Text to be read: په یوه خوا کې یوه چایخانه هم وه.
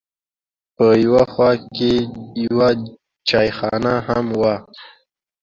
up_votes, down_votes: 2, 0